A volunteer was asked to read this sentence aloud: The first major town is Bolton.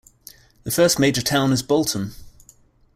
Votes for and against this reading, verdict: 2, 0, accepted